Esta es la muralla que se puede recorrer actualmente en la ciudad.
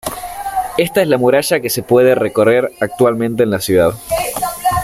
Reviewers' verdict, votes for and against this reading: rejected, 0, 3